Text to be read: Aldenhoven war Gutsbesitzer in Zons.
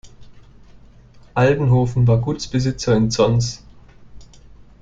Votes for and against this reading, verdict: 2, 0, accepted